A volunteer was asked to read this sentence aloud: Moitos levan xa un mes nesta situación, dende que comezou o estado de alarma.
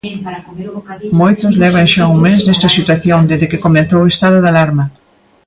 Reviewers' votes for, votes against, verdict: 2, 0, accepted